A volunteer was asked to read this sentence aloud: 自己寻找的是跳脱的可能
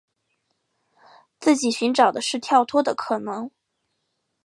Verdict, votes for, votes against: accepted, 2, 0